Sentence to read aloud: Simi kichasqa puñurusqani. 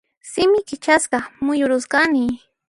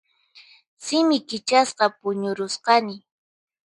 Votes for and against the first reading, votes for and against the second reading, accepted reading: 0, 2, 4, 0, second